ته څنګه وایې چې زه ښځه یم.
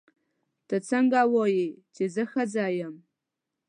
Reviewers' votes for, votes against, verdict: 2, 0, accepted